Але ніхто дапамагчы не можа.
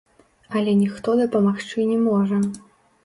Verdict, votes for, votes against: rejected, 1, 2